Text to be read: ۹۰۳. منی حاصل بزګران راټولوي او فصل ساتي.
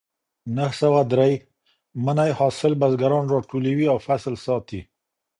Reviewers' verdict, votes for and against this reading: rejected, 0, 2